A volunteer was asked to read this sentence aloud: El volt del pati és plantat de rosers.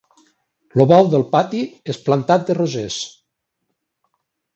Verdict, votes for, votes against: rejected, 1, 2